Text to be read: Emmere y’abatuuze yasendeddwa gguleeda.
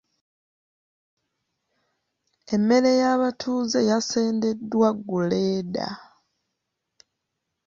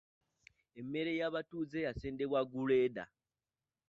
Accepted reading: first